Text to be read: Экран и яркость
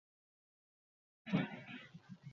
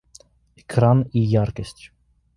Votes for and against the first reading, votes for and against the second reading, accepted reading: 0, 2, 2, 0, second